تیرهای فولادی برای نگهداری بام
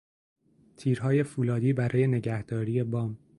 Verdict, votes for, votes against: accepted, 2, 0